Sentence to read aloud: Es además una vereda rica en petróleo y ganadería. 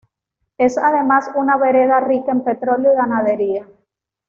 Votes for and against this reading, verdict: 2, 0, accepted